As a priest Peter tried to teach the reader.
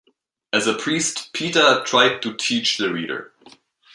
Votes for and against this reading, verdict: 2, 0, accepted